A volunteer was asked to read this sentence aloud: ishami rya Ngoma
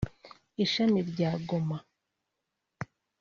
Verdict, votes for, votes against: rejected, 1, 2